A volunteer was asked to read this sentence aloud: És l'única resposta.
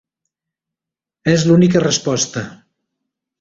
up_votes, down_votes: 2, 0